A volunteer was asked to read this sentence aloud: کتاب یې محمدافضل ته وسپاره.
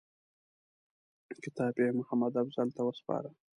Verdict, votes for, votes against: accepted, 2, 0